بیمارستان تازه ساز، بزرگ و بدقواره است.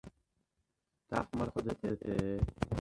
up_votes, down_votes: 0, 2